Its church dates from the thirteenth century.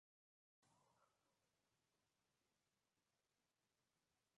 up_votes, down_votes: 0, 2